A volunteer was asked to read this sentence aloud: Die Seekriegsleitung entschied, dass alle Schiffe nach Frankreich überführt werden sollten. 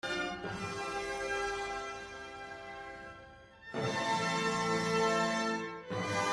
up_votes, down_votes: 0, 2